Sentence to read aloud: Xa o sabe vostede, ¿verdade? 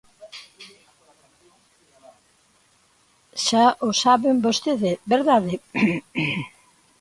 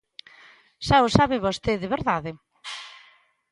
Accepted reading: second